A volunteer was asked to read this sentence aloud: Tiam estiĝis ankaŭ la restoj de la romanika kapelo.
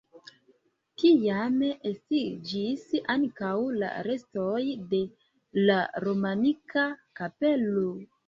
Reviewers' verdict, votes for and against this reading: rejected, 1, 2